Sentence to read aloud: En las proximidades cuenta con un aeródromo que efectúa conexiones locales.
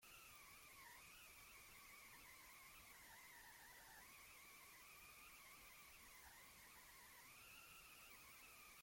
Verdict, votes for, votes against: rejected, 1, 2